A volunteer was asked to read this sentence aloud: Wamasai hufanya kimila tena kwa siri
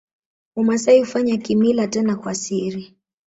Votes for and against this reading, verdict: 2, 0, accepted